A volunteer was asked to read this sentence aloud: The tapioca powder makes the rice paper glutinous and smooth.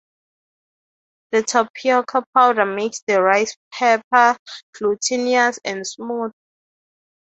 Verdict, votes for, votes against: rejected, 0, 3